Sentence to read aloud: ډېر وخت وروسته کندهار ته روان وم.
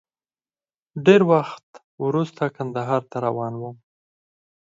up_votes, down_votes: 2, 4